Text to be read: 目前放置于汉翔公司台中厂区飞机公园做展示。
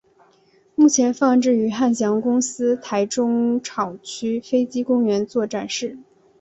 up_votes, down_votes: 6, 0